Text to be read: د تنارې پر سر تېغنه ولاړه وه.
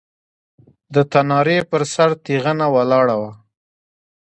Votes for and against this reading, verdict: 2, 1, accepted